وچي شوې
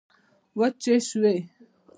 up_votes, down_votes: 0, 2